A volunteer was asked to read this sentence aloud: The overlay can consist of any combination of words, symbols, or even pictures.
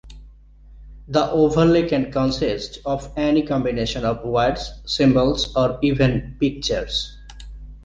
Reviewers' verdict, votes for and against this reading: accepted, 2, 0